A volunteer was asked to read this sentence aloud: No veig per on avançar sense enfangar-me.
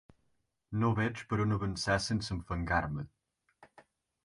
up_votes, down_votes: 4, 0